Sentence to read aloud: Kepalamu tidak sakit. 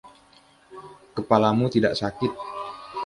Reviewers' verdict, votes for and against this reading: rejected, 1, 2